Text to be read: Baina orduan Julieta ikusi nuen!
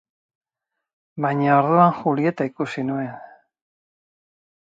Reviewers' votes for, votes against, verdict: 2, 0, accepted